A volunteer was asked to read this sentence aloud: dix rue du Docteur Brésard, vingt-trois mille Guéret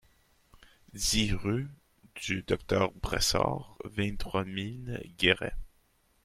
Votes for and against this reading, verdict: 2, 0, accepted